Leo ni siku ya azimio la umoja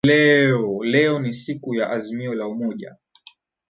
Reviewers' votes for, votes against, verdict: 1, 2, rejected